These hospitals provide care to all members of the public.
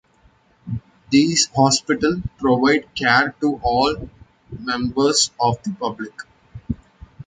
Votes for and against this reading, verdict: 0, 2, rejected